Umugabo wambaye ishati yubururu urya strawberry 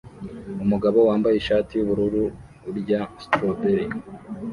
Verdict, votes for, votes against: rejected, 1, 2